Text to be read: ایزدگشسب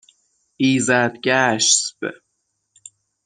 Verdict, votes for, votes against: accepted, 6, 0